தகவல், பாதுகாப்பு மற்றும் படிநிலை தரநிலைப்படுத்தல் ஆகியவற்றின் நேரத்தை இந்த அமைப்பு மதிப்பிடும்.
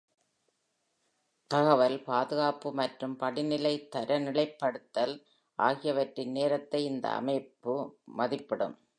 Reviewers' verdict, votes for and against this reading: accepted, 2, 0